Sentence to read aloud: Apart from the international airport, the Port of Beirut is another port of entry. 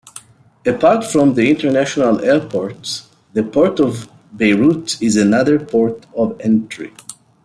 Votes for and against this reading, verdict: 2, 0, accepted